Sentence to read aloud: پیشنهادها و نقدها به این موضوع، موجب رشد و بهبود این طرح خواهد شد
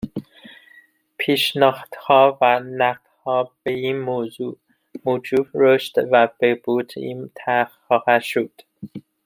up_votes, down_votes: 2, 1